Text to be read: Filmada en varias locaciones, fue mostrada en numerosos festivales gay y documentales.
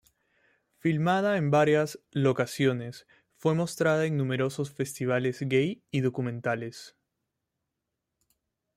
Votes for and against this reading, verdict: 2, 0, accepted